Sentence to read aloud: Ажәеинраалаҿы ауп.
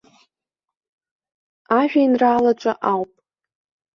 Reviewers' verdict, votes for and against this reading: accepted, 2, 0